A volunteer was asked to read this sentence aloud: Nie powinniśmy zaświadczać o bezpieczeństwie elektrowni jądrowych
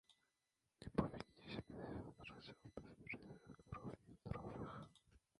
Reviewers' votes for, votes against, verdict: 0, 2, rejected